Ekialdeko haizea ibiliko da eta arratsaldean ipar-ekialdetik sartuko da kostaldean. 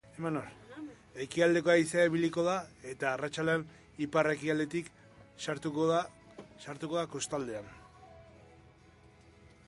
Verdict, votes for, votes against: rejected, 0, 2